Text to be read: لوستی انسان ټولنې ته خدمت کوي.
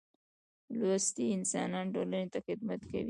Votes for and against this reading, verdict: 1, 2, rejected